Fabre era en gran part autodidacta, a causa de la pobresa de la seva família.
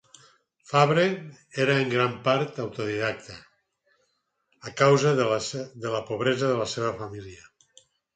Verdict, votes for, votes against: rejected, 2, 4